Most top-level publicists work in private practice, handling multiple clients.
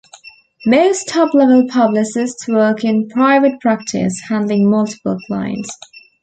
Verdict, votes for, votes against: accepted, 2, 1